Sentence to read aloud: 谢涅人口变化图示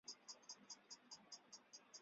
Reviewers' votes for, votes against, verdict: 0, 2, rejected